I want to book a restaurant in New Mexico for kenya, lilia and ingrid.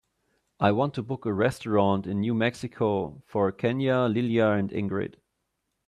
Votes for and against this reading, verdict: 2, 0, accepted